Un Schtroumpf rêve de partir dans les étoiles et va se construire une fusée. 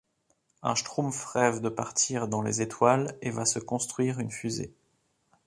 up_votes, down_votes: 2, 0